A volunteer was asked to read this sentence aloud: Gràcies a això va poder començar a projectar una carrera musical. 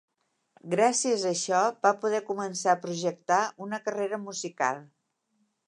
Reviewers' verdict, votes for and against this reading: accepted, 3, 0